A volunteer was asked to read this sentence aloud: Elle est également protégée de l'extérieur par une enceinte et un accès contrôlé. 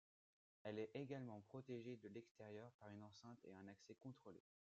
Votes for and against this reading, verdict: 2, 1, accepted